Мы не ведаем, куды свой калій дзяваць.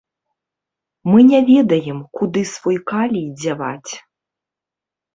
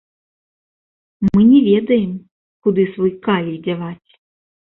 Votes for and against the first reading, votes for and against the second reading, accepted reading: 2, 0, 0, 2, first